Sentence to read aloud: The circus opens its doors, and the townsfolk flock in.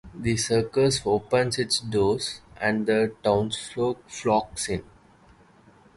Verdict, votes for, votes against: rejected, 2, 2